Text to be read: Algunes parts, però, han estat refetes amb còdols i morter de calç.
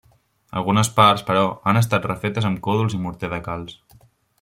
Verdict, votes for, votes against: accepted, 2, 0